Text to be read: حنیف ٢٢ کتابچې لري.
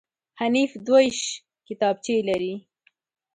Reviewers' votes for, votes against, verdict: 0, 2, rejected